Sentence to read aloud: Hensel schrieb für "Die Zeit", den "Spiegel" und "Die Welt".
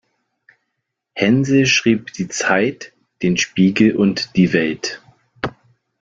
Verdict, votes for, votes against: rejected, 1, 2